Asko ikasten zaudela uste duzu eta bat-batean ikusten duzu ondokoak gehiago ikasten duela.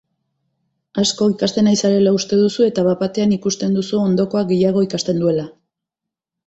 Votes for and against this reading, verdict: 0, 2, rejected